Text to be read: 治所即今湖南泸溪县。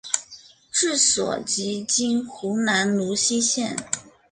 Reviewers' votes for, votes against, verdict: 5, 0, accepted